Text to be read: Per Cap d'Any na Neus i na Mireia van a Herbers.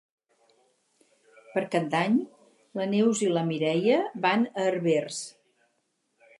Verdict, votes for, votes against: rejected, 0, 2